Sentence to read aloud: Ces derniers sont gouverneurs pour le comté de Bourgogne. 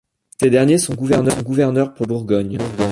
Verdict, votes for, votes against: rejected, 1, 2